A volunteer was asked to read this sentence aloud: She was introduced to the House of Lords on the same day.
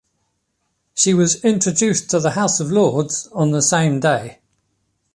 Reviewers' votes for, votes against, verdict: 2, 0, accepted